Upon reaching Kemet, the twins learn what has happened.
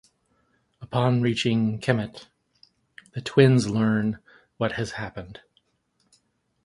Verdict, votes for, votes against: accepted, 2, 0